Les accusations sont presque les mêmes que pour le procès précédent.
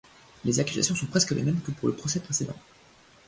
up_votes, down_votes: 2, 1